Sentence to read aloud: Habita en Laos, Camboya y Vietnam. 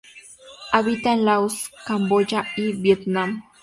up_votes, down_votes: 0, 4